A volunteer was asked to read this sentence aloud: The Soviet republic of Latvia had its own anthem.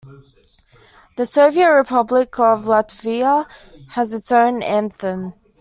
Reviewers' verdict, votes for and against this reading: rejected, 0, 2